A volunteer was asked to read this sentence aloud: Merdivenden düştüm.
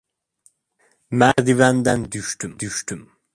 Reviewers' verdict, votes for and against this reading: rejected, 0, 2